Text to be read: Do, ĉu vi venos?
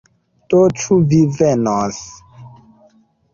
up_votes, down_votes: 1, 2